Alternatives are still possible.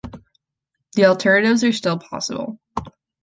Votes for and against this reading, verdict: 0, 2, rejected